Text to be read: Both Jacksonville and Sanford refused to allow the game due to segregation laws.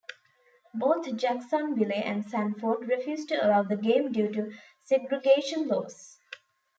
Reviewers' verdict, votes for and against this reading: rejected, 0, 2